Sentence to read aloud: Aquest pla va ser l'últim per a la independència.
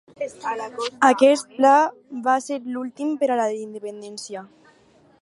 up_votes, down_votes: 2, 2